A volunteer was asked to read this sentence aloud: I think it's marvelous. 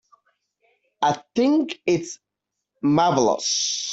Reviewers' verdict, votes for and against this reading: accepted, 2, 0